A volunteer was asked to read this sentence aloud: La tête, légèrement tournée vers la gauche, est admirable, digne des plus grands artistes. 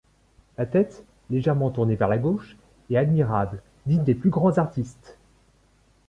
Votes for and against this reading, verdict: 2, 0, accepted